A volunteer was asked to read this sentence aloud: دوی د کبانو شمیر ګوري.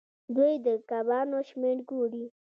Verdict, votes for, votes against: accepted, 2, 0